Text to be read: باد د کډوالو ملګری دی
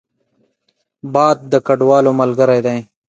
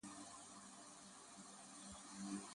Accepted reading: first